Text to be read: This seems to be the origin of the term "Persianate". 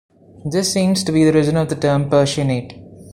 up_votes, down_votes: 0, 2